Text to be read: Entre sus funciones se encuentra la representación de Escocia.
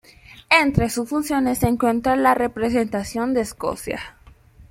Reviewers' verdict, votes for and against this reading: accepted, 2, 1